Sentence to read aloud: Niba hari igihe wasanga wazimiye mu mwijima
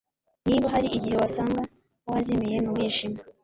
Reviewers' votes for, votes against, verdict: 2, 0, accepted